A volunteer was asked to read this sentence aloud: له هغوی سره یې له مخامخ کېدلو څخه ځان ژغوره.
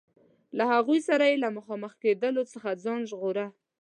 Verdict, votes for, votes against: accepted, 2, 0